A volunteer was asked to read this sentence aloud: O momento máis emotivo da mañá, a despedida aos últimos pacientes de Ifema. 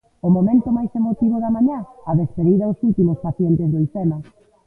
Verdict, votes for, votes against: accepted, 2, 0